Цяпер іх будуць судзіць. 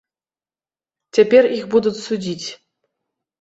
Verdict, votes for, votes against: rejected, 1, 2